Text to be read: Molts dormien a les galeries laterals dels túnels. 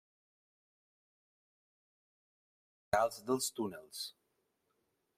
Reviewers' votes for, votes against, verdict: 0, 2, rejected